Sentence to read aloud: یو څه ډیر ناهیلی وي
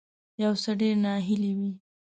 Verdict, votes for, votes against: rejected, 0, 2